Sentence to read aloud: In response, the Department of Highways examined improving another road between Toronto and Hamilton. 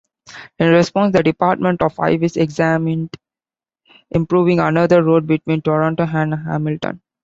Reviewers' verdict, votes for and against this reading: accepted, 2, 1